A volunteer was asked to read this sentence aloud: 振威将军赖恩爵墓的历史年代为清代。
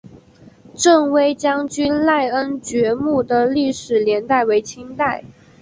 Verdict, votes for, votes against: accepted, 3, 0